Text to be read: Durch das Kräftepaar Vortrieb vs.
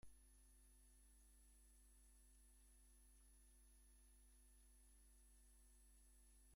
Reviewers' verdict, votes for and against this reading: rejected, 0, 2